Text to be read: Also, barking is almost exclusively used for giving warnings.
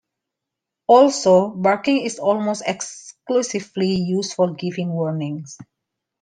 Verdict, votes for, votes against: accepted, 2, 0